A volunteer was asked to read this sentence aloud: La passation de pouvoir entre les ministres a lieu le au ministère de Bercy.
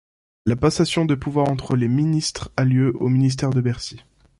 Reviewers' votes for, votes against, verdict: 1, 2, rejected